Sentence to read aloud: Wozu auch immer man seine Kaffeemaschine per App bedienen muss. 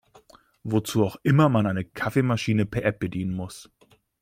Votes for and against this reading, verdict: 0, 2, rejected